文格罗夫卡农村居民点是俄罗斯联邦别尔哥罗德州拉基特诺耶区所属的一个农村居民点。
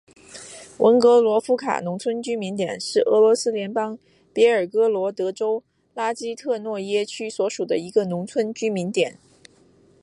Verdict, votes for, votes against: accepted, 2, 0